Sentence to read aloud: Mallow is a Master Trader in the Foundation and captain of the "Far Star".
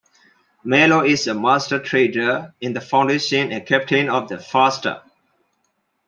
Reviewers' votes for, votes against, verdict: 2, 0, accepted